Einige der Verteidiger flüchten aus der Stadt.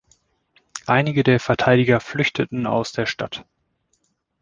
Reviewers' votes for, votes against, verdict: 0, 2, rejected